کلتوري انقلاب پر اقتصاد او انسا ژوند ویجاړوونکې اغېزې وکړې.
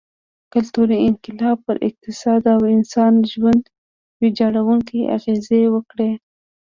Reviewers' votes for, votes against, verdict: 1, 2, rejected